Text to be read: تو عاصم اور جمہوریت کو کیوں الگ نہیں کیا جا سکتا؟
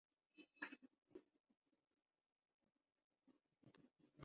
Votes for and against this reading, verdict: 0, 2, rejected